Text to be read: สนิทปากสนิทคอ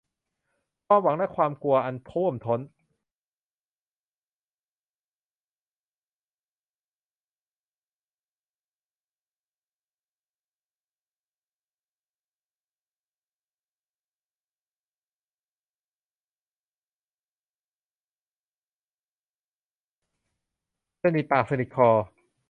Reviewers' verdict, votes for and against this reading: rejected, 0, 2